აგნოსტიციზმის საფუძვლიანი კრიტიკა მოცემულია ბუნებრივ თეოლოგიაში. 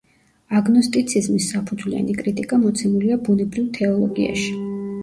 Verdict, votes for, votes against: rejected, 0, 2